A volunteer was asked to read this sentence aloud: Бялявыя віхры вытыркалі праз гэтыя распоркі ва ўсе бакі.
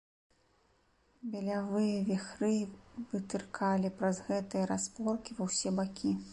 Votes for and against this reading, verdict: 1, 2, rejected